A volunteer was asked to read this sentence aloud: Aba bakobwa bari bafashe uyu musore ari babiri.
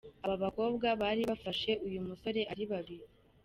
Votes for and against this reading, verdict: 2, 0, accepted